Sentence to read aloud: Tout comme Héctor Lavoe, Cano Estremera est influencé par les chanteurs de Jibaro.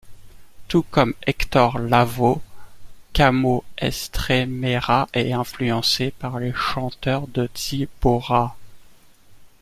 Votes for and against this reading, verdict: 1, 2, rejected